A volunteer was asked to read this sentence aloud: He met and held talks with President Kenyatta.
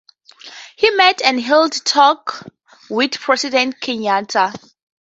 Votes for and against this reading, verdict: 0, 2, rejected